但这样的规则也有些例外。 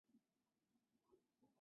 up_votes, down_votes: 5, 4